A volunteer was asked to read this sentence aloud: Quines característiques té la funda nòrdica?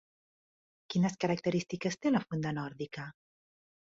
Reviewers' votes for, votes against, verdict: 3, 0, accepted